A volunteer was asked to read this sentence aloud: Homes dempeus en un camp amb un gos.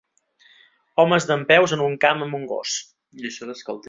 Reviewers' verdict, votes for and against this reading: rejected, 0, 2